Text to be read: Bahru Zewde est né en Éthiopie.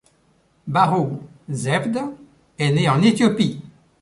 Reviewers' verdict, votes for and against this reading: accepted, 2, 0